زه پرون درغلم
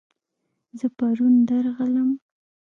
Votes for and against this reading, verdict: 2, 0, accepted